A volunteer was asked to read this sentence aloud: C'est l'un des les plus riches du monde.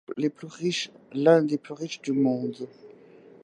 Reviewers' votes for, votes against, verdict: 2, 1, accepted